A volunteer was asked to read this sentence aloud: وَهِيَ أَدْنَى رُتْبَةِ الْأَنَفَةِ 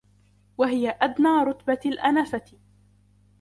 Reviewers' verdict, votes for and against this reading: accepted, 2, 0